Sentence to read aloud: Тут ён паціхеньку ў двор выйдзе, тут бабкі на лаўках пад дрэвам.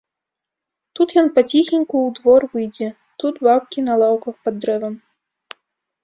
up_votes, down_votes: 2, 0